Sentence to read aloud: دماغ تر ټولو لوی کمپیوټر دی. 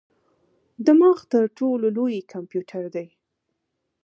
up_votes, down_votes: 2, 0